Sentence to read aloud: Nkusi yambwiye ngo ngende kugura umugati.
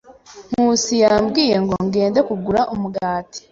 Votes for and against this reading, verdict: 2, 0, accepted